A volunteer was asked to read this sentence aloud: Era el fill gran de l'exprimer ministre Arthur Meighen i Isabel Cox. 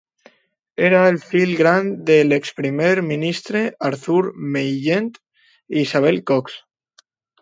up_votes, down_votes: 0, 2